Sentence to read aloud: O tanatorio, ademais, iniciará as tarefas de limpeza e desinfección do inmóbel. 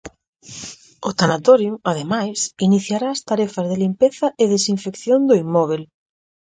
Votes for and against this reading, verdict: 4, 0, accepted